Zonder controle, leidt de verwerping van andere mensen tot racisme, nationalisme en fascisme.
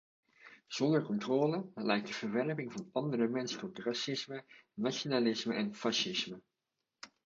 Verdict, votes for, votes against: accepted, 2, 0